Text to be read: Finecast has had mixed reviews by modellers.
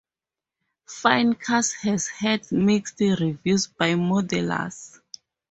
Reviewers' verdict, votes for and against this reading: rejected, 2, 2